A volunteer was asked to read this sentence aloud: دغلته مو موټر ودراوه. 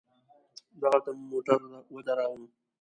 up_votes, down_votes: 2, 0